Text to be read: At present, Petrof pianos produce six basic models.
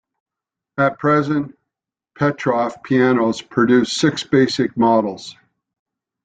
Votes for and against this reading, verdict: 2, 0, accepted